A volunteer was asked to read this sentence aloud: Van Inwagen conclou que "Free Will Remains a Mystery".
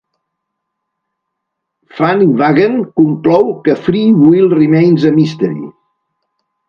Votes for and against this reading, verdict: 1, 2, rejected